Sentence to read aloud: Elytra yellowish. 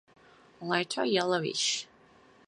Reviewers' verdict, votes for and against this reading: accepted, 4, 2